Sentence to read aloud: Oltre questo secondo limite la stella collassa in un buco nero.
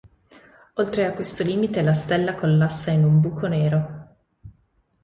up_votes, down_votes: 1, 2